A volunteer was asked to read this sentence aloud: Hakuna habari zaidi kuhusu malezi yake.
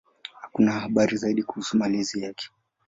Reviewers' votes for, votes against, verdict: 2, 0, accepted